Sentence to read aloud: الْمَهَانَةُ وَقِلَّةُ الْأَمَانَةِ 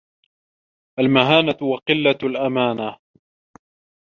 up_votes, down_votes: 2, 0